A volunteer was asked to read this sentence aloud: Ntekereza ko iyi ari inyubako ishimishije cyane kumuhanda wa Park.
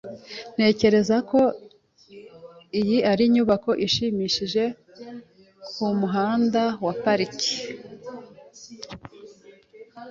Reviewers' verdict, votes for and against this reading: accepted, 2, 0